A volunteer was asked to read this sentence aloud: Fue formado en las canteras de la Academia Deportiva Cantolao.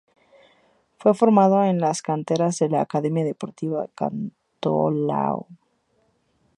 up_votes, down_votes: 2, 0